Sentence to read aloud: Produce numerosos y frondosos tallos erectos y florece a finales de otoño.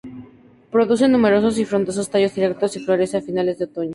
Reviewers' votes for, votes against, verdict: 0, 2, rejected